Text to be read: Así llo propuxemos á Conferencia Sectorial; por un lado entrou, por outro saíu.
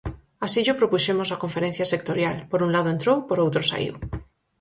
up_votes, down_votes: 4, 0